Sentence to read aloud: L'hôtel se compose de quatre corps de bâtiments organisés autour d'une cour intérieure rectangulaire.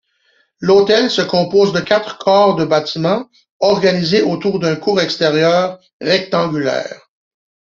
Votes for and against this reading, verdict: 0, 2, rejected